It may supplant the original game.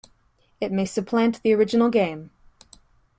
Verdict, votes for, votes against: accepted, 2, 0